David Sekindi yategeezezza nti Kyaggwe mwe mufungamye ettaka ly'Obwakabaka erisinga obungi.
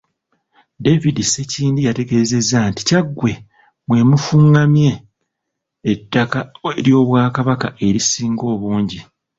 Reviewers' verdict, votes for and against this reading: accepted, 2, 0